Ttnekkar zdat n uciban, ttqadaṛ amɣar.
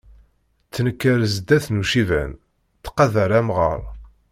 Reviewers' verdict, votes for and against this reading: rejected, 1, 2